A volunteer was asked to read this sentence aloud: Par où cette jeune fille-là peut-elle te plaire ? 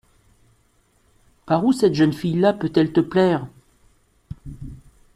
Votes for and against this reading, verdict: 2, 0, accepted